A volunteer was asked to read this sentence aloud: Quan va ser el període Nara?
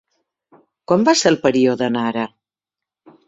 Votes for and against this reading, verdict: 1, 2, rejected